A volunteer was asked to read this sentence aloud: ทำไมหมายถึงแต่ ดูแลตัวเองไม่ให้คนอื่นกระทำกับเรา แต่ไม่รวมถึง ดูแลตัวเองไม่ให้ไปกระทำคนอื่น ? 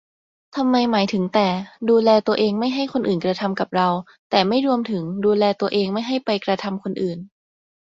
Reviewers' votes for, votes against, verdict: 2, 0, accepted